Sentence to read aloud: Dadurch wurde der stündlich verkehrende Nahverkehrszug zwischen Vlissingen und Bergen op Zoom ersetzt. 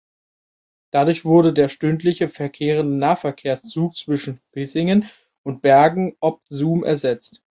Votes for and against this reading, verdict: 0, 2, rejected